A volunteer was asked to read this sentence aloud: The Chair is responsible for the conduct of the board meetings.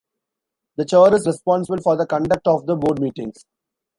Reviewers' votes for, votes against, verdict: 2, 0, accepted